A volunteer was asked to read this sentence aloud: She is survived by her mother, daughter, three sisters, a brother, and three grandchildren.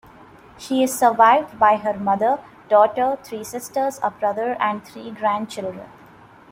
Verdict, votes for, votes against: rejected, 0, 2